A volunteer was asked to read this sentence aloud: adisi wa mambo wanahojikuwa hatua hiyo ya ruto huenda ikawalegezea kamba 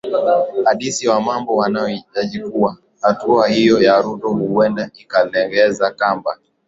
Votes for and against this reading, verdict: 2, 1, accepted